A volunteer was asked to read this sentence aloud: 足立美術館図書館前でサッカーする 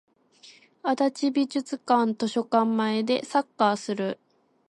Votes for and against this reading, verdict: 0, 2, rejected